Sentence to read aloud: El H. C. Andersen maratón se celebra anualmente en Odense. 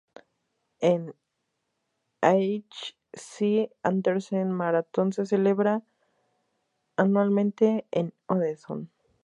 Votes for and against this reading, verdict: 0, 2, rejected